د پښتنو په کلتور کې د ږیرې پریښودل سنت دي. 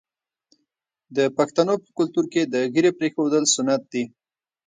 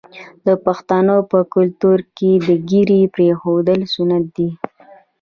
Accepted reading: first